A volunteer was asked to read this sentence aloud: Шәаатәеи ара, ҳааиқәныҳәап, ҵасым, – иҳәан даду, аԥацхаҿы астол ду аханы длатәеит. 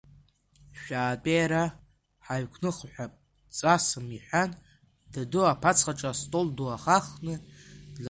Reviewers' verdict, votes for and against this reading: rejected, 1, 2